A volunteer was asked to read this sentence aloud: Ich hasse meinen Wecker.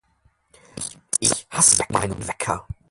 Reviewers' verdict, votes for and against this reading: rejected, 0, 4